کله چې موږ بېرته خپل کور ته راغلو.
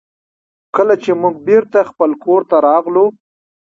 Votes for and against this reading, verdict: 1, 2, rejected